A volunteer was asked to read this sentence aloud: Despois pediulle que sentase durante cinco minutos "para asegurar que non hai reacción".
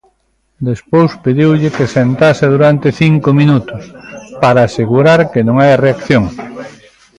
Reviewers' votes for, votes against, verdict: 1, 2, rejected